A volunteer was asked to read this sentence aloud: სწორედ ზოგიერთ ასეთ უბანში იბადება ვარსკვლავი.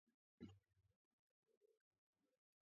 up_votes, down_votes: 0, 2